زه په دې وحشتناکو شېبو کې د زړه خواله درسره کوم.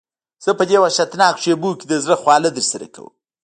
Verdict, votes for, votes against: rejected, 0, 2